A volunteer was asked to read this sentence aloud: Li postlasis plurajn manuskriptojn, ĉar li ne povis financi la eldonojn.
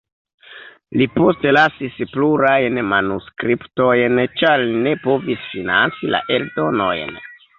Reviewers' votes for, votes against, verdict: 0, 2, rejected